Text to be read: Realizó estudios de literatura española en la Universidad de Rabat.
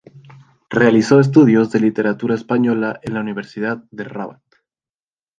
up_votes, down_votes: 2, 0